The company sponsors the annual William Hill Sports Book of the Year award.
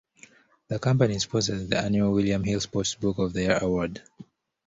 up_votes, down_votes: 2, 0